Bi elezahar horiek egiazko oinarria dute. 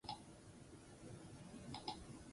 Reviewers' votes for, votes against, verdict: 0, 4, rejected